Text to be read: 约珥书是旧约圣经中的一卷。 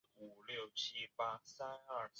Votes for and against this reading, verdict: 2, 4, rejected